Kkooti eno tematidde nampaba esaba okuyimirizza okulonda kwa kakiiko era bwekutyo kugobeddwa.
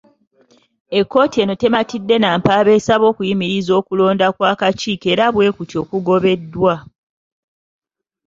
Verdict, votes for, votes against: rejected, 0, 2